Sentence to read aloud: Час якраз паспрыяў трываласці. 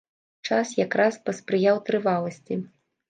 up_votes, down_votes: 2, 0